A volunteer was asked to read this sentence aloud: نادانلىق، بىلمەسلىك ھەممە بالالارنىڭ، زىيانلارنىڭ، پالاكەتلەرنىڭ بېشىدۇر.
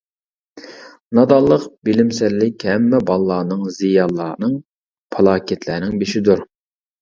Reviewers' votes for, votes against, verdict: 0, 2, rejected